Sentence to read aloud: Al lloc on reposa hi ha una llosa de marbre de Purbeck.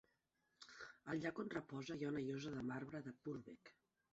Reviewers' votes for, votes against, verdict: 3, 1, accepted